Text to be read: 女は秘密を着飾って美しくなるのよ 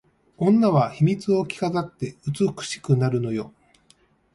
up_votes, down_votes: 3, 0